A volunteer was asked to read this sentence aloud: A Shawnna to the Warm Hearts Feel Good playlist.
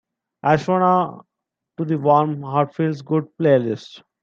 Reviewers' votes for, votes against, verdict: 1, 3, rejected